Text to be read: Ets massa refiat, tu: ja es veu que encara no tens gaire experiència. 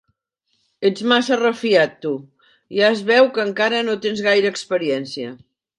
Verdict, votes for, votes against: accepted, 3, 0